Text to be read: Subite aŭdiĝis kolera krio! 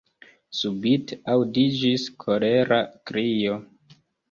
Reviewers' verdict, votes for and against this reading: rejected, 0, 2